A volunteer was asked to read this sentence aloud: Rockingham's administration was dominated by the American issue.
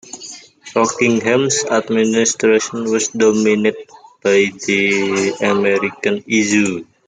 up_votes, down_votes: 1, 2